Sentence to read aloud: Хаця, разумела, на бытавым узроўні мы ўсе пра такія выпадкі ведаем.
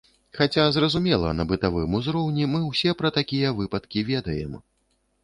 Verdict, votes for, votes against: rejected, 0, 2